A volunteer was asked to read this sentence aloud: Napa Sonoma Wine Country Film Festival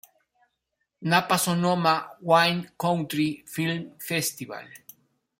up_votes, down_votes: 2, 0